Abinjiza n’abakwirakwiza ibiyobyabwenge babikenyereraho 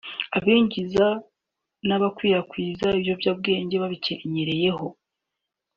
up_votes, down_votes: 2, 0